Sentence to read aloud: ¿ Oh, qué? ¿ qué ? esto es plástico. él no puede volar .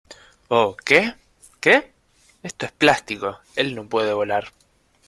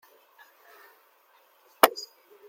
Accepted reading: first